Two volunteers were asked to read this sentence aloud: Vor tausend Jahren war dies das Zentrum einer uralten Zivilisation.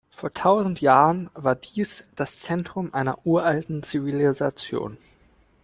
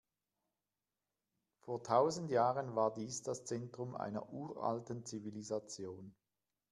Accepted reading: second